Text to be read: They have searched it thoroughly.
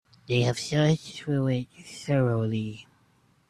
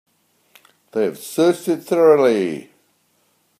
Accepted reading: second